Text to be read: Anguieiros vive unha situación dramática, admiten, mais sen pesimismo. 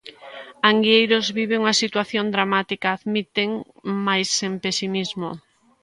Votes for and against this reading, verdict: 2, 0, accepted